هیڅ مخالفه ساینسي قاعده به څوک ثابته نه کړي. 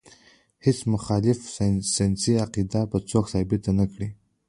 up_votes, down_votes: 0, 2